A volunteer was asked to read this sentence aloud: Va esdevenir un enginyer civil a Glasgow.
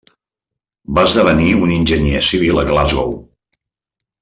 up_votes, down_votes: 3, 1